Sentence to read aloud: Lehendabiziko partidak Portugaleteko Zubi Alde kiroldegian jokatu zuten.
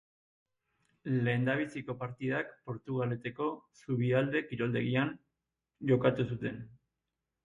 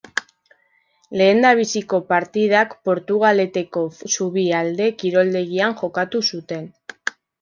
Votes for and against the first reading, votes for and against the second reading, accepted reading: 8, 0, 1, 2, first